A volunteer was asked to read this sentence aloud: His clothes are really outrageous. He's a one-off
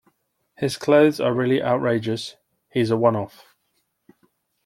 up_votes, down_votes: 2, 0